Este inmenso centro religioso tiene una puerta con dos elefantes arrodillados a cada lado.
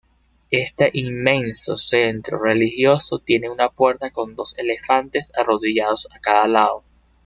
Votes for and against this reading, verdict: 2, 0, accepted